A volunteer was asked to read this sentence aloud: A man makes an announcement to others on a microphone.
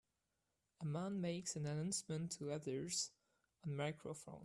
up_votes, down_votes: 0, 2